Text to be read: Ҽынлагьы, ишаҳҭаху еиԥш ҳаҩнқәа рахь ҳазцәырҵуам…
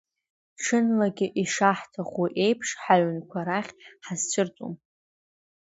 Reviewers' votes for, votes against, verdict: 2, 0, accepted